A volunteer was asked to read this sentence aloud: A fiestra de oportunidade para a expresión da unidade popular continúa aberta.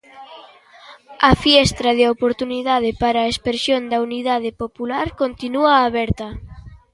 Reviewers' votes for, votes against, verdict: 2, 0, accepted